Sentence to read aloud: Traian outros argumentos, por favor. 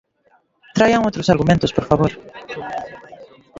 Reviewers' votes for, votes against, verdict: 0, 2, rejected